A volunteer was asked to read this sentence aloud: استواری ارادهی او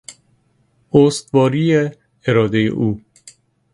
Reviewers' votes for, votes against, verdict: 2, 0, accepted